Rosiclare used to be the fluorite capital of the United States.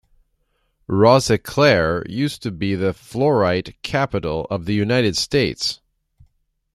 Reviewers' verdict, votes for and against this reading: accepted, 2, 0